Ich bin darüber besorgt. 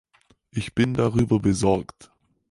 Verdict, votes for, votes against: accepted, 4, 0